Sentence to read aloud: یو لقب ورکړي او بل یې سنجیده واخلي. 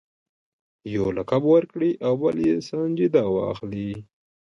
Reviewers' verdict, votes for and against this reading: accepted, 2, 1